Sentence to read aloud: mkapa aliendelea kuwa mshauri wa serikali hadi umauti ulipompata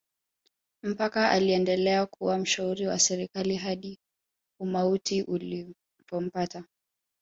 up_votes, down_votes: 2, 3